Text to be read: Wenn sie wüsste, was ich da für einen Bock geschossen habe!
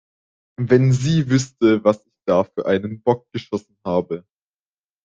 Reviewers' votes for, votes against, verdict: 1, 2, rejected